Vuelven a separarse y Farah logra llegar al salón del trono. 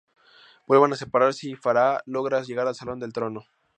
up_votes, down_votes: 0, 2